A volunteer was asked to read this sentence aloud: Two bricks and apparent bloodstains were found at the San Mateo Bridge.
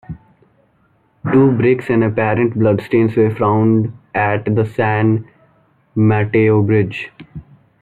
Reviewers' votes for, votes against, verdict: 1, 2, rejected